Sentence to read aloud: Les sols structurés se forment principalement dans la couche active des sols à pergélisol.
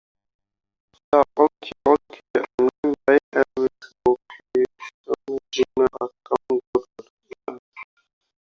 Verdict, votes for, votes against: rejected, 0, 2